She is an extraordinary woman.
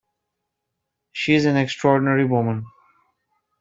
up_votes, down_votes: 2, 1